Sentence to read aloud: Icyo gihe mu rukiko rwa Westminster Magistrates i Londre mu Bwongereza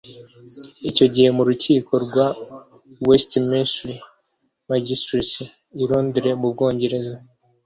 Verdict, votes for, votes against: accepted, 2, 0